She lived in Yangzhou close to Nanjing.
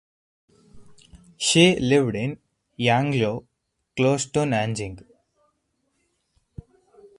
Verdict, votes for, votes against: rejected, 2, 2